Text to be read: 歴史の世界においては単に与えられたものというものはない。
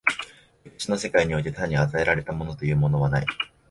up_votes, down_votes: 3, 1